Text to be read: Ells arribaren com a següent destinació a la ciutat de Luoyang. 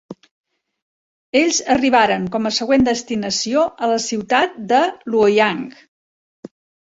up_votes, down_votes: 4, 0